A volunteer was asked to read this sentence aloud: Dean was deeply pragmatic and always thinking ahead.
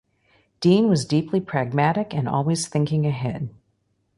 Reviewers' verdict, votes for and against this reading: accepted, 2, 0